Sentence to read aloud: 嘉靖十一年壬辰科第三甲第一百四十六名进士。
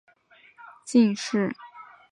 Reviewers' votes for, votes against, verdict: 1, 2, rejected